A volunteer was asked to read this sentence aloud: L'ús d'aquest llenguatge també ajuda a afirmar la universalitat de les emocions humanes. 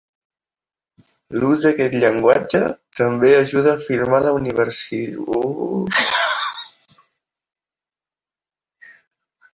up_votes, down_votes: 0, 2